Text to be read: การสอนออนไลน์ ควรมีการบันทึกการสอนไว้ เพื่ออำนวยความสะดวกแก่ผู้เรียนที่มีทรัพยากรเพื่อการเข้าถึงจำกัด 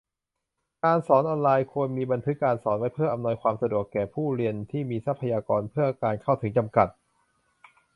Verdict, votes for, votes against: rejected, 0, 2